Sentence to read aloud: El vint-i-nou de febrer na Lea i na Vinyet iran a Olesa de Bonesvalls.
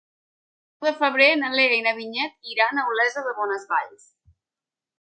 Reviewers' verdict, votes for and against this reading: rejected, 0, 2